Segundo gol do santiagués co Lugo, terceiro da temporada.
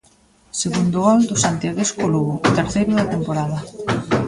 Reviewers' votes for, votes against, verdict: 1, 2, rejected